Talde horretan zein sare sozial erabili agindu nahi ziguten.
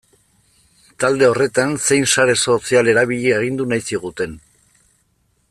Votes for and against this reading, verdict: 2, 0, accepted